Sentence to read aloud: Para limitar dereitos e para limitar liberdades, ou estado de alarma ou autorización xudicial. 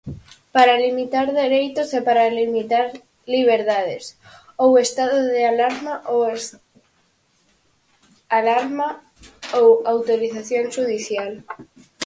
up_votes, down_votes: 0, 4